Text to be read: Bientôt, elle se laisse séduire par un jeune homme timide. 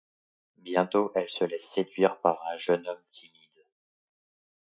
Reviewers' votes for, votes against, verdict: 2, 0, accepted